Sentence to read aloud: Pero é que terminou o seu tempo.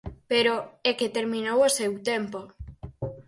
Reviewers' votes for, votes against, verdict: 4, 0, accepted